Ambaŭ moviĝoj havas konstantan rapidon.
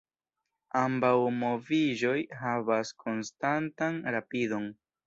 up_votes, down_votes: 2, 0